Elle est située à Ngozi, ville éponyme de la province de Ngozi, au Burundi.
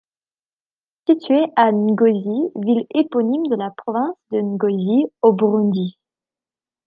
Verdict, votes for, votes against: rejected, 0, 2